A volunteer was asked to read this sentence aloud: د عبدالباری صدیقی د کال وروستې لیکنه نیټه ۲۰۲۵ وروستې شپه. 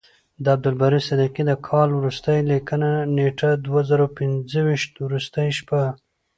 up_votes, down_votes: 0, 2